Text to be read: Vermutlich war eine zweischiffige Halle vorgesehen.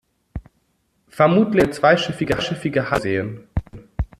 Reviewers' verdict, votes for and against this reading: rejected, 0, 2